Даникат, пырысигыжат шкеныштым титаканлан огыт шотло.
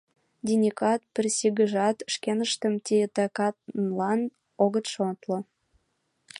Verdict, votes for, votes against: rejected, 1, 2